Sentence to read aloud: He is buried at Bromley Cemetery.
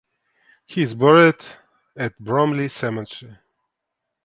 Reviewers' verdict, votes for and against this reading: rejected, 1, 2